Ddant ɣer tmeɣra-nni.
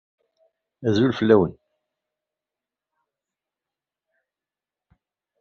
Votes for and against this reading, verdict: 0, 2, rejected